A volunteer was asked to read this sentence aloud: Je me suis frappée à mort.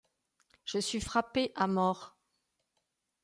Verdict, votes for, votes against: rejected, 1, 2